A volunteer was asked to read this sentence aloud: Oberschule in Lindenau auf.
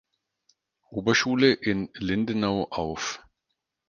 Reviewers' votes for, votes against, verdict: 4, 0, accepted